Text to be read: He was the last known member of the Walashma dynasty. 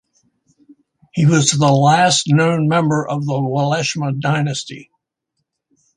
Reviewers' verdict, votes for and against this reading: accepted, 4, 0